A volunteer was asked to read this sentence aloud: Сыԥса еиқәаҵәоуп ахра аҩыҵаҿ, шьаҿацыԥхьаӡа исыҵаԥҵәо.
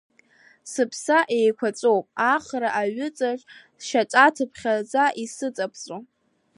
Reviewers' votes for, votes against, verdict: 1, 2, rejected